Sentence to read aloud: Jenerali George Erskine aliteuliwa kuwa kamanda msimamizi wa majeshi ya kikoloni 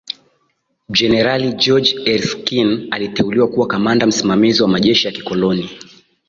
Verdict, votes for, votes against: accepted, 2, 0